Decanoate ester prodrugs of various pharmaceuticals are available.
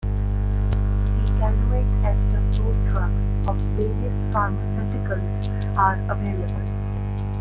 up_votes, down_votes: 1, 2